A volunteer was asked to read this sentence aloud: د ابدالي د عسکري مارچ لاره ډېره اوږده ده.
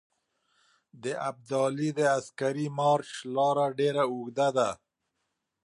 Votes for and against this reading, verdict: 2, 0, accepted